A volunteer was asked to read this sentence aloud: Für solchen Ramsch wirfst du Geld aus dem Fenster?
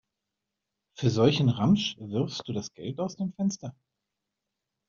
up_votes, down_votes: 1, 2